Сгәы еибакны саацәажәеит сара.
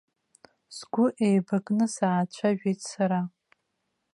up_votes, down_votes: 2, 0